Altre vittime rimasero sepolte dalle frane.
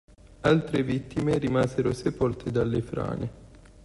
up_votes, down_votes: 2, 0